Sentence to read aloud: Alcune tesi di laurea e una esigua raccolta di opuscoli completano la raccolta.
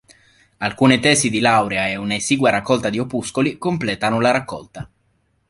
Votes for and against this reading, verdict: 2, 0, accepted